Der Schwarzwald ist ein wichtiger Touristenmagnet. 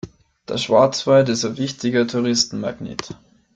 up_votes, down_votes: 2, 3